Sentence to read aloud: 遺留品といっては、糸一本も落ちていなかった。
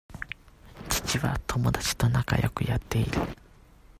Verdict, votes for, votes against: rejected, 0, 2